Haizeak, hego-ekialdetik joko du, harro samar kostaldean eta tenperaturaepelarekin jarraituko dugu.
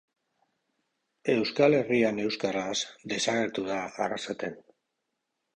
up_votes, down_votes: 0, 2